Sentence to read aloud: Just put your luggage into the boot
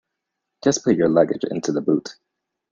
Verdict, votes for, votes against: accepted, 2, 0